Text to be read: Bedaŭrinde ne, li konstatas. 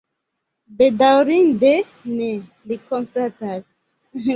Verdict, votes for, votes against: accepted, 2, 1